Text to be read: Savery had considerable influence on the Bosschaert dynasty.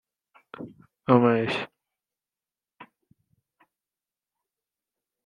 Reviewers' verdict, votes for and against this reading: rejected, 0, 2